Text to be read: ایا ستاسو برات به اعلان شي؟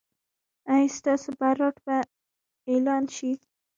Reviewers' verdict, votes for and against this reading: rejected, 1, 2